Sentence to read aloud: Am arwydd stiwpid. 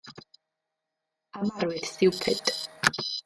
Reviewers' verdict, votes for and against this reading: rejected, 1, 2